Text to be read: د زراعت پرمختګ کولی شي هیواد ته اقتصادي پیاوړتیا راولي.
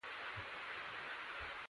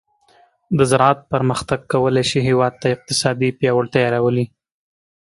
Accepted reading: second